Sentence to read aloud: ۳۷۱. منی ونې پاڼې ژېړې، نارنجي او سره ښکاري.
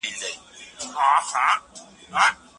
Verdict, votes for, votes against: rejected, 0, 2